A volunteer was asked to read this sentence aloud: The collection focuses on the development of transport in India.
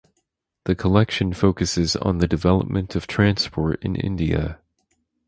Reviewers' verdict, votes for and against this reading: accepted, 4, 2